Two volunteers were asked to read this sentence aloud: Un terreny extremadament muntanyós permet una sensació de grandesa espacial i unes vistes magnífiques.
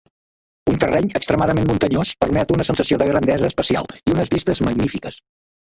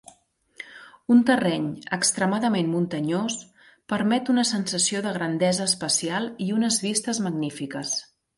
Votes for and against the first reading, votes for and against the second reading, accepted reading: 0, 2, 2, 0, second